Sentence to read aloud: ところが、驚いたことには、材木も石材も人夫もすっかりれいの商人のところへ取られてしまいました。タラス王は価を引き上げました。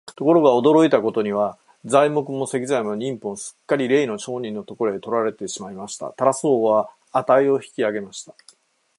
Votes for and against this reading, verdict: 4, 0, accepted